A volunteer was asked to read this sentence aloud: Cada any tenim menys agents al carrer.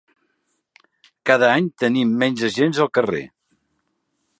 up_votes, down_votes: 3, 0